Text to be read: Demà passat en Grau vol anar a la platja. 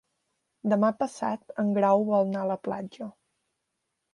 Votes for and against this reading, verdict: 1, 2, rejected